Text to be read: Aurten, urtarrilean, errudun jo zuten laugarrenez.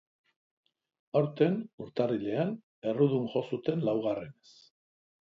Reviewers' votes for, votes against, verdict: 2, 0, accepted